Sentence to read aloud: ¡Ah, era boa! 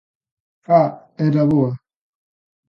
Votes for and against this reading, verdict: 2, 0, accepted